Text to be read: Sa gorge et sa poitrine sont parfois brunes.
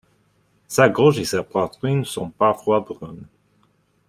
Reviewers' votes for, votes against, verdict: 0, 2, rejected